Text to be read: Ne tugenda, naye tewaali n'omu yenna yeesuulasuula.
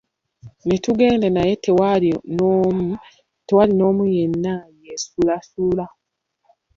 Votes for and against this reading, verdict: 0, 2, rejected